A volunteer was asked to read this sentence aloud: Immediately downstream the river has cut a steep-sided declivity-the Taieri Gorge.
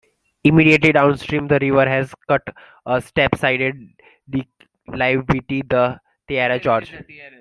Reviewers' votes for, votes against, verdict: 0, 2, rejected